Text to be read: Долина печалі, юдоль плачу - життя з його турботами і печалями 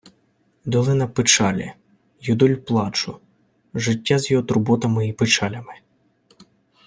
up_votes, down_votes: 1, 2